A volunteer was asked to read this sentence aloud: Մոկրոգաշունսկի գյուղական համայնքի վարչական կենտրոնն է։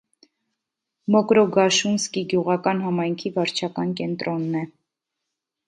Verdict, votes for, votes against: accepted, 2, 0